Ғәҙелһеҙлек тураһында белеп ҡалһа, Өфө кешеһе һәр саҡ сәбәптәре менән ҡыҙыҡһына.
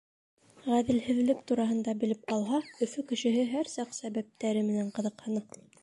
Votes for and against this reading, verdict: 0, 2, rejected